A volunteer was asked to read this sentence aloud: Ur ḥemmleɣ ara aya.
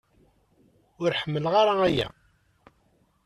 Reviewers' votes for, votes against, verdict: 2, 0, accepted